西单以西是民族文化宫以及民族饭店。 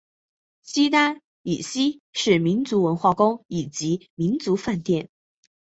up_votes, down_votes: 2, 0